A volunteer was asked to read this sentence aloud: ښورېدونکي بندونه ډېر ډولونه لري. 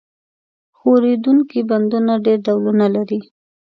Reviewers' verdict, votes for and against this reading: accepted, 2, 0